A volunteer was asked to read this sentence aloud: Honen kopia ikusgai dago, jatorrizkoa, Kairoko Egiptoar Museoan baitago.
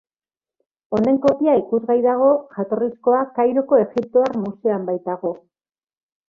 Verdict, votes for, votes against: accepted, 3, 0